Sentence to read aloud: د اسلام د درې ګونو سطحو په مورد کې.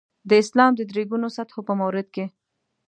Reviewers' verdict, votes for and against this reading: accepted, 2, 0